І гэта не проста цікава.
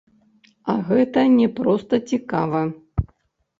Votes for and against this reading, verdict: 1, 2, rejected